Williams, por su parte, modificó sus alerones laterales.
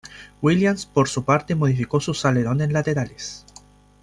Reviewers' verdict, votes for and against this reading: accepted, 2, 0